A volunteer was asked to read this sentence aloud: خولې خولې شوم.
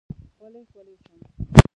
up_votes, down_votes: 0, 2